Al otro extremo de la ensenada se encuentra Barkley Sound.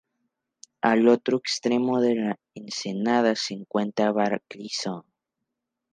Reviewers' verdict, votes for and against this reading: rejected, 0, 2